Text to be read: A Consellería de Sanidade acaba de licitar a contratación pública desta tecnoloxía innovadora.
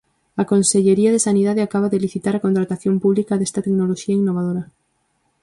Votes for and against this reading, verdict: 4, 0, accepted